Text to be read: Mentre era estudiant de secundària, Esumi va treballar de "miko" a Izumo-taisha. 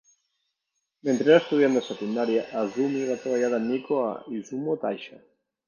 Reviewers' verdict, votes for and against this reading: accepted, 2, 0